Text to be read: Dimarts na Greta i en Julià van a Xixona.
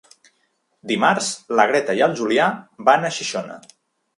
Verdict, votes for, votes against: rejected, 1, 2